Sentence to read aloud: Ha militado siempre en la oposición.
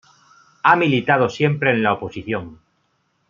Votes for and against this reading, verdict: 2, 0, accepted